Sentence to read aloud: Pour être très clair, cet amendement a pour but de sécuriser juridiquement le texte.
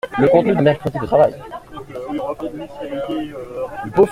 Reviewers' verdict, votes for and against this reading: rejected, 0, 2